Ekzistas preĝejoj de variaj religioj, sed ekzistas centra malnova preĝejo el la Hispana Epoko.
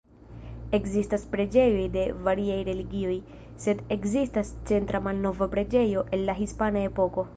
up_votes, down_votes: 2, 1